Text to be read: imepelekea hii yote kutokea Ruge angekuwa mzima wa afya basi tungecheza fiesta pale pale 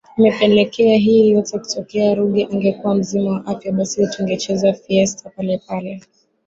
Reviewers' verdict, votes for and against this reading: rejected, 0, 2